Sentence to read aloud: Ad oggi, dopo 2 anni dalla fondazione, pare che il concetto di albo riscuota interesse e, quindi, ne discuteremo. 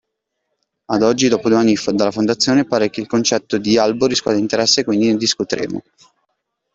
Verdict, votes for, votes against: rejected, 0, 2